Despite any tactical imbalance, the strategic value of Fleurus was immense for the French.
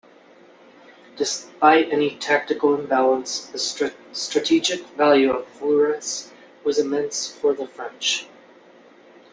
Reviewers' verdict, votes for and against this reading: rejected, 0, 2